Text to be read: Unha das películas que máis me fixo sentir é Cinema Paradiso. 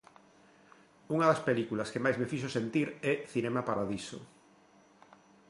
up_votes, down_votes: 2, 1